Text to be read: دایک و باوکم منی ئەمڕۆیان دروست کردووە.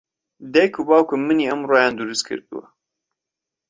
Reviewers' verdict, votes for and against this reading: accepted, 2, 0